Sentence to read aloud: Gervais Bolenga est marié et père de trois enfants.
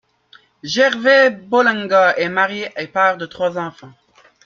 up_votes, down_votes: 2, 0